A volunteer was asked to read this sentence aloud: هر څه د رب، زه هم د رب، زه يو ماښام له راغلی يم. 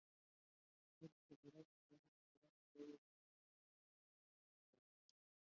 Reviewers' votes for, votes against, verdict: 0, 2, rejected